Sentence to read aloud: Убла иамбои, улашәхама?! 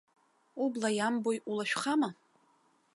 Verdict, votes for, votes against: accepted, 2, 0